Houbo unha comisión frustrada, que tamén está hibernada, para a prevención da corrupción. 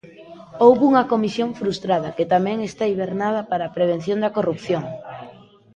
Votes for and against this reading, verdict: 2, 0, accepted